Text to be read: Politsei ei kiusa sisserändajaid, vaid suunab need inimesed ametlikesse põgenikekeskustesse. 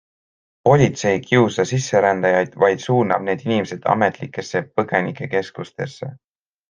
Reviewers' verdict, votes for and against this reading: accepted, 2, 1